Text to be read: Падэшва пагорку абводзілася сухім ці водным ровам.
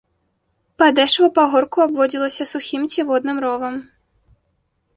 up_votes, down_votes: 3, 0